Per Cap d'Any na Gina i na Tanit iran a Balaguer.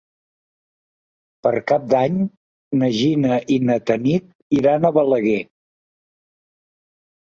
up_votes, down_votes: 4, 0